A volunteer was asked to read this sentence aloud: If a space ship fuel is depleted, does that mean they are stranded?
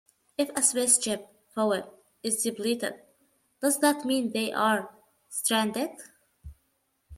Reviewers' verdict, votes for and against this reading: rejected, 1, 2